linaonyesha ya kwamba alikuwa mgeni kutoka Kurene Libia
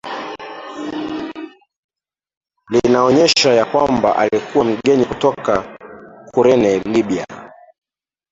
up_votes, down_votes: 2, 0